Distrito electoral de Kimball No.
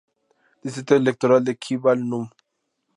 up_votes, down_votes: 2, 0